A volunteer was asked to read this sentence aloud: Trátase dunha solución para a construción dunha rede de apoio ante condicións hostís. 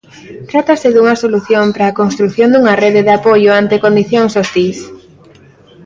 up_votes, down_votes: 2, 0